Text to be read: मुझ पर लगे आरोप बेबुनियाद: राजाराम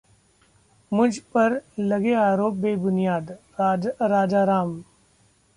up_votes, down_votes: 0, 2